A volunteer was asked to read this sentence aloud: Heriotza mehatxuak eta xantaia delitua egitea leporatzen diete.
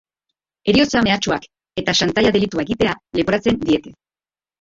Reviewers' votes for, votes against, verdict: 2, 1, accepted